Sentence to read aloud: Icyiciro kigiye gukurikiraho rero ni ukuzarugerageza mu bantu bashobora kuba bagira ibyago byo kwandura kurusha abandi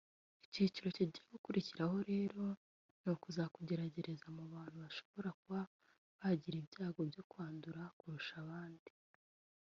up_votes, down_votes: 1, 2